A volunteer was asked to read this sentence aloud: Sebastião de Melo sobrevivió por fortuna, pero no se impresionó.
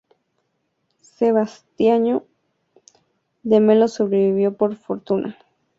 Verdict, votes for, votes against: rejected, 0, 2